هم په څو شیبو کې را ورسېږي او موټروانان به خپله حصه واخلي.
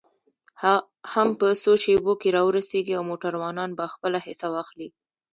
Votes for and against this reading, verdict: 1, 2, rejected